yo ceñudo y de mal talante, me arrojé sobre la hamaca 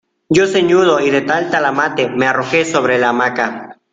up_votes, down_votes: 0, 2